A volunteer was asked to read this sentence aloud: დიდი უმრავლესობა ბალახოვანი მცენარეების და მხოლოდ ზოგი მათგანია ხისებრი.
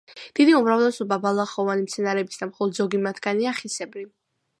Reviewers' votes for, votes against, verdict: 2, 0, accepted